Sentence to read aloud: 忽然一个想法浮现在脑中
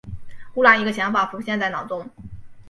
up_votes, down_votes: 3, 0